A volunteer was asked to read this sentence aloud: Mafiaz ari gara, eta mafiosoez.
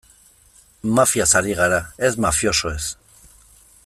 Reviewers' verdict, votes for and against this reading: rejected, 0, 2